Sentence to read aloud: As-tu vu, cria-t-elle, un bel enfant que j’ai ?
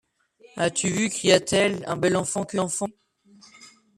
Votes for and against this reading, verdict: 0, 2, rejected